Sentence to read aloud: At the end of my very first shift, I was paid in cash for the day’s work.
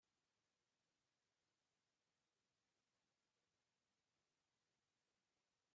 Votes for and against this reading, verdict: 0, 2, rejected